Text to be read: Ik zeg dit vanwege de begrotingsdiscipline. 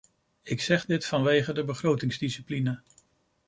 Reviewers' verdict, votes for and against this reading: accepted, 2, 0